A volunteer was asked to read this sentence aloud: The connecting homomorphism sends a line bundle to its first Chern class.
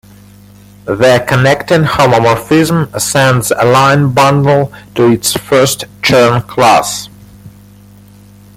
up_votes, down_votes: 2, 1